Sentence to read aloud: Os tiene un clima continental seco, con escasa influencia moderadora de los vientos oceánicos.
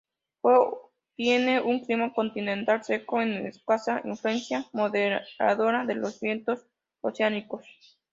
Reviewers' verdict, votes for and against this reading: rejected, 0, 2